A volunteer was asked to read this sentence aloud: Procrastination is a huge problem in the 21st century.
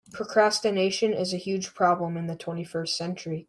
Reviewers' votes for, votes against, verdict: 0, 2, rejected